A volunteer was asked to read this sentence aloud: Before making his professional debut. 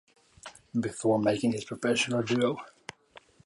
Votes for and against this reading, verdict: 0, 2, rejected